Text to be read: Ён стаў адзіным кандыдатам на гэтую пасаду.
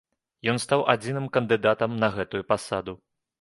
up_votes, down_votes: 2, 0